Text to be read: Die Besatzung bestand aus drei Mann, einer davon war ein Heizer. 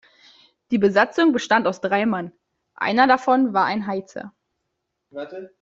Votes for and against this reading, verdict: 0, 2, rejected